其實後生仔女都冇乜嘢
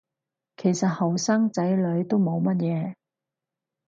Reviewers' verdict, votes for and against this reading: rejected, 0, 2